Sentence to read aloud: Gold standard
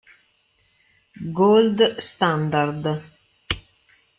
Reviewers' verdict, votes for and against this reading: rejected, 0, 2